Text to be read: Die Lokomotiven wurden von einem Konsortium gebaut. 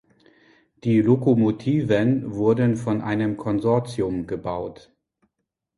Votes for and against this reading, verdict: 2, 0, accepted